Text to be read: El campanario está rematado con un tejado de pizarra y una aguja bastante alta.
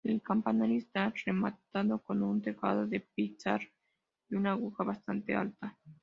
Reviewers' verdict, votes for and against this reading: rejected, 1, 2